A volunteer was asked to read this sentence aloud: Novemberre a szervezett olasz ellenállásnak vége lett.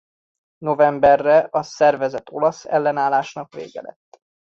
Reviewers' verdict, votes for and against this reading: accepted, 2, 0